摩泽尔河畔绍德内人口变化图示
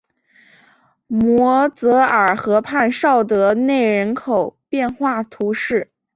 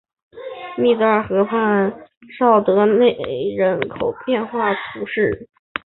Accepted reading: first